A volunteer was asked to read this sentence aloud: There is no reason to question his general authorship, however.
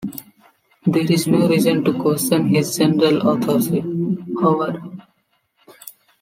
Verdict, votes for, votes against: rejected, 1, 2